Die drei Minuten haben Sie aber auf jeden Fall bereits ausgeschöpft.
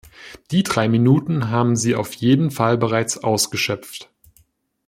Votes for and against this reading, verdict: 0, 2, rejected